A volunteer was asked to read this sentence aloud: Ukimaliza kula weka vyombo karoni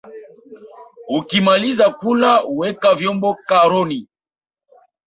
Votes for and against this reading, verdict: 0, 2, rejected